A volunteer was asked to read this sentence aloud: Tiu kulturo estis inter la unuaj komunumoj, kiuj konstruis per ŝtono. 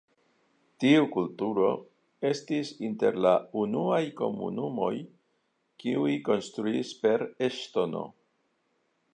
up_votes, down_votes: 1, 2